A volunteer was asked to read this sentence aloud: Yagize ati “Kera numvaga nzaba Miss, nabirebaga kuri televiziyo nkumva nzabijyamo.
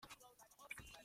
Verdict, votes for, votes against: rejected, 0, 2